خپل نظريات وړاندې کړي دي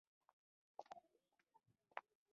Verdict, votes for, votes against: rejected, 0, 2